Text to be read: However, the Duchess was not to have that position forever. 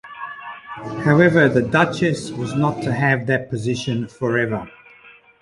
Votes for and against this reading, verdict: 2, 1, accepted